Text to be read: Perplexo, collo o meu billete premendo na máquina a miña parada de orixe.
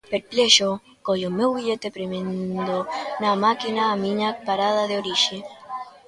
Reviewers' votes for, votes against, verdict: 2, 1, accepted